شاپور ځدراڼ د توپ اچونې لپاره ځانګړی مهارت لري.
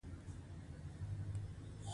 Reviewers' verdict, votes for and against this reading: rejected, 1, 2